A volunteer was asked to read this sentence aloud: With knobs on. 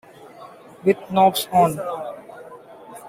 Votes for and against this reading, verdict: 2, 1, accepted